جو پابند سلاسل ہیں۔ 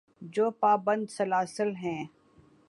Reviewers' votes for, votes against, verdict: 14, 1, accepted